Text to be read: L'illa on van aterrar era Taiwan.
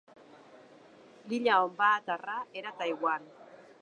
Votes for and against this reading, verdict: 1, 2, rejected